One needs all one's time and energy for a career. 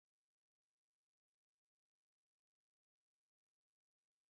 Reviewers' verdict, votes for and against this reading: rejected, 1, 2